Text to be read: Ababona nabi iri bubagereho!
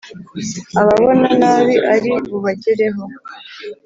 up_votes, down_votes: 1, 2